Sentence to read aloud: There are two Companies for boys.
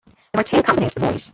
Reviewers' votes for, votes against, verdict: 1, 2, rejected